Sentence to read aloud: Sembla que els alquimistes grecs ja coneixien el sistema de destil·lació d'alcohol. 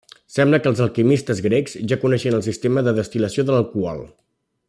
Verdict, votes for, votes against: accepted, 2, 0